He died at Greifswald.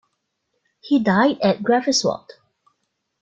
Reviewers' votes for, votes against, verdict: 1, 2, rejected